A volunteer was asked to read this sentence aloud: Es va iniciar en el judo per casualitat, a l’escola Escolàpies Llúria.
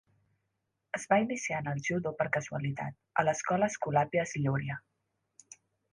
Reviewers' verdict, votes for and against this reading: accepted, 2, 0